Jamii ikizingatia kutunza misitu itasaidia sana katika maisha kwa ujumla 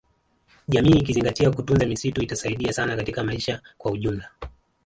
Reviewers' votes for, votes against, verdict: 0, 2, rejected